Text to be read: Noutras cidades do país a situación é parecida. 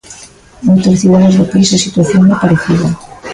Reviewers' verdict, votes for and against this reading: rejected, 1, 2